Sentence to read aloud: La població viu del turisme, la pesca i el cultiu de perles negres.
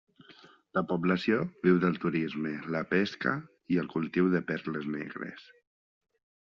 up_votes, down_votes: 3, 0